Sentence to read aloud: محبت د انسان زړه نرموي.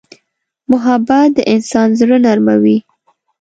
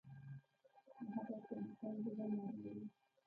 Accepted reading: first